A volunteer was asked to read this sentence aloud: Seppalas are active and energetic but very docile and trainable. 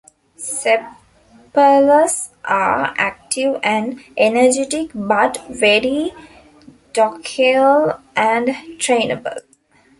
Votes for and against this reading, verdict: 0, 2, rejected